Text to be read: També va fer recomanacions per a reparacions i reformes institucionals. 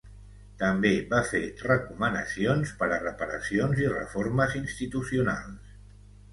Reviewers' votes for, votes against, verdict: 2, 0, accepted